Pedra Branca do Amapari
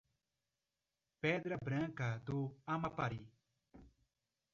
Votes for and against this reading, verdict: 1, 2, rejected